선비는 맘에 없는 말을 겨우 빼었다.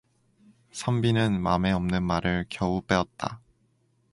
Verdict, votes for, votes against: accepted, 2, 0